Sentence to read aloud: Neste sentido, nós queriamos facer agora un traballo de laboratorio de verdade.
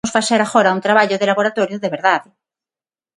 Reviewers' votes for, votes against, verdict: 0, 6, rejected